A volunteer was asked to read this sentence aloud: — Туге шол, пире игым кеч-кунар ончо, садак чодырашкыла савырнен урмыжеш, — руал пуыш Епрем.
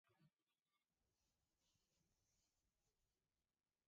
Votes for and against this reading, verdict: 1, 3, rejected